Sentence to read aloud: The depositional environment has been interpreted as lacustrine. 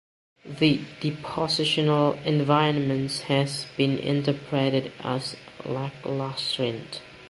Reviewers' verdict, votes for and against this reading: rejected, 0, 2